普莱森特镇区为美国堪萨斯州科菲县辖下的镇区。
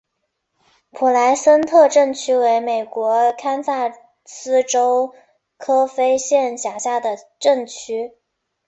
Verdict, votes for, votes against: accepted, 2, 0